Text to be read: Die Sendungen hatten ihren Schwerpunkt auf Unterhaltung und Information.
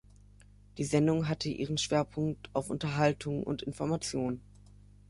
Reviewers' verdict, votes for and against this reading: rejected, 0, 2